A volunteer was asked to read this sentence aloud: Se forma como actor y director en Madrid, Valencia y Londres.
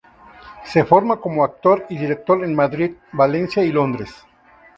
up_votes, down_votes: 2, 0